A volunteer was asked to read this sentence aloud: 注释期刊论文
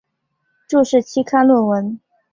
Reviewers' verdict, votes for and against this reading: accepted, 8, 0